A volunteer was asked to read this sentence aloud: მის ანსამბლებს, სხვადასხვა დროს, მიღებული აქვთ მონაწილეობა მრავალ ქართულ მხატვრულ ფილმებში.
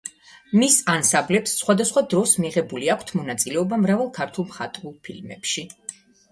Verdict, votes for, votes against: accepted, 2, 0